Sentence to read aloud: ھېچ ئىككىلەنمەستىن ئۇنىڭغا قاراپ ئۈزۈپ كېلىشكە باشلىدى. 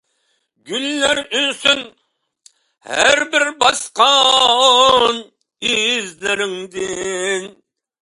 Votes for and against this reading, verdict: 0, 2, rejected